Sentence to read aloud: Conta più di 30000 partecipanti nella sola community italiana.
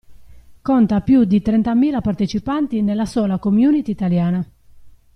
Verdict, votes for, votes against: rejected, 0, 2